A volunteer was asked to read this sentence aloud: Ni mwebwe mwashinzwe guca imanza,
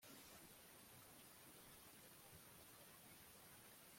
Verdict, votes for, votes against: rejected, 0, 2